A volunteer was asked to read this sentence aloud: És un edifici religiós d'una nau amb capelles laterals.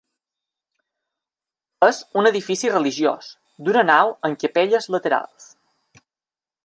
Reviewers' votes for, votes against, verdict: 2, 0, accepted